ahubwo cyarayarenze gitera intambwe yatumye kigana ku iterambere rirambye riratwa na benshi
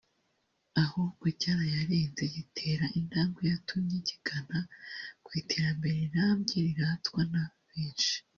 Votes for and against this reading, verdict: 1, 2, rejected